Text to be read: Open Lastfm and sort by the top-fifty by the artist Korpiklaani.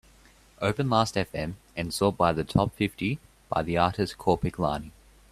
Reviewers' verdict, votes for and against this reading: accepted, 2, 0